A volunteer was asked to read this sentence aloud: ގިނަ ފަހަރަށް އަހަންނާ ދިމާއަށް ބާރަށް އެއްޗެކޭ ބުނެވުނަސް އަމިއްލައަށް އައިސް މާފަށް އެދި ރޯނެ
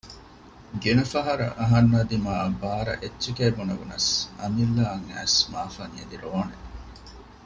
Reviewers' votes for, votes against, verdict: 2, 0, accepted